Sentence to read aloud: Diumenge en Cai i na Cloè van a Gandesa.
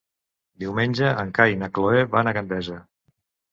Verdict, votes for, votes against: accepted, 2, 0